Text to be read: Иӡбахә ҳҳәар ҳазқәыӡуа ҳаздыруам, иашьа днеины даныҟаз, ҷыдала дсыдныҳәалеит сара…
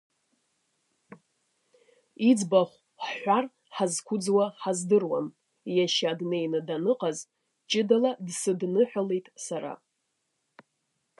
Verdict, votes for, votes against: accepted, 2, 0